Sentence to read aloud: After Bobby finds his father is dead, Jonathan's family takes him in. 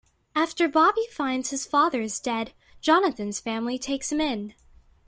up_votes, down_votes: 2, 0